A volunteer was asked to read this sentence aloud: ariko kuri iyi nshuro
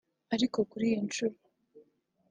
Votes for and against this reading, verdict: 2, 0, accepted